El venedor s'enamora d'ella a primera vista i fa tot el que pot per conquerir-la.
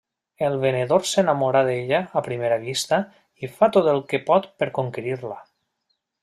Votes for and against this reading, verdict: 3, 0, accepted